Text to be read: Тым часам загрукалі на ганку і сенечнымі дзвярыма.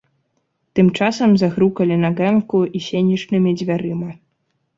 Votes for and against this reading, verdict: 3, 0, accepted